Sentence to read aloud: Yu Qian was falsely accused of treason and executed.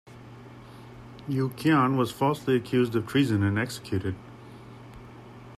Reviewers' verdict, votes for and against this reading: accepted, 2, 0